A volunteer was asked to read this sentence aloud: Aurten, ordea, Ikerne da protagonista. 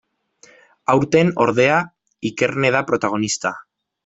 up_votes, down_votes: 2, 0